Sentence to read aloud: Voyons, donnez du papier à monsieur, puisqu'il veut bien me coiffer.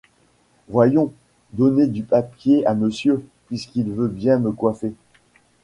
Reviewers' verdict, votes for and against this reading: rejected, 0, 2